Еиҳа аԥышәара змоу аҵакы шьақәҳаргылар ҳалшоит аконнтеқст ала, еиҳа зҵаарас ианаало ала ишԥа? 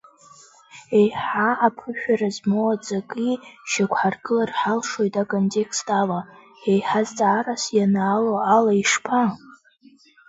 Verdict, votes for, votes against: rejected, 1, 2